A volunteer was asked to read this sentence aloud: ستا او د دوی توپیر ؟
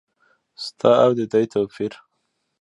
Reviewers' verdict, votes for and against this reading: accepted, 2, 0